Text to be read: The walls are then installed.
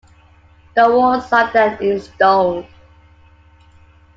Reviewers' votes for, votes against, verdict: 2, 1, accepted